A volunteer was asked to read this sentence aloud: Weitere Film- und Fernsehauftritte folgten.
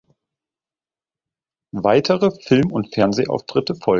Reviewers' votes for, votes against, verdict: 0, 2, rejected